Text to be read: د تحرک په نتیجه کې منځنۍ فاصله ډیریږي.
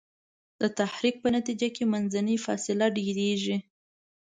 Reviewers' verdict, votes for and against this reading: accepted, 2, 0